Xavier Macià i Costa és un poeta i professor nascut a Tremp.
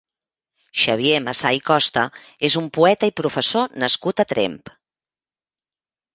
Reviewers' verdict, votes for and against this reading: rejected, 2, 3